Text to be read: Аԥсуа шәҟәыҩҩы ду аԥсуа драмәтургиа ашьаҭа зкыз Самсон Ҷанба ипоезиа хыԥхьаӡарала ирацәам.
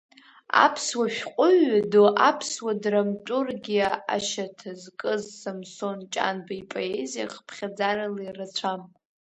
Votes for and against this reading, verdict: 0, 2, rejected